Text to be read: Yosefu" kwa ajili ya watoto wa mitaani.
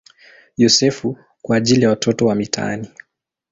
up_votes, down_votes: 2, 0